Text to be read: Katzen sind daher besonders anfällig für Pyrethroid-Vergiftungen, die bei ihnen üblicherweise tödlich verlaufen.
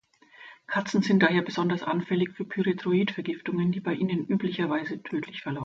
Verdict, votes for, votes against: rejected, 1, 2